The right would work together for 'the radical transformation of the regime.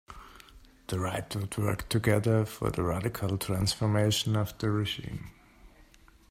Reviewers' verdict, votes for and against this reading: accepted, 2, 1